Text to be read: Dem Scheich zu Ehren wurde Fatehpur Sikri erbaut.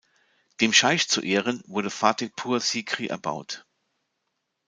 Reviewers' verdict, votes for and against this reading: accepted, 2, 0